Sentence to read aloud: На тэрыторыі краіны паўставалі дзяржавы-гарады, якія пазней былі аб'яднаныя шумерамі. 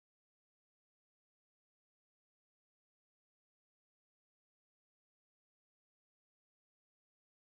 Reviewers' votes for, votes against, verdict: 0, 4, rejected